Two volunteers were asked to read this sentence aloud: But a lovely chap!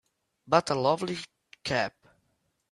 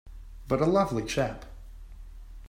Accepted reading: second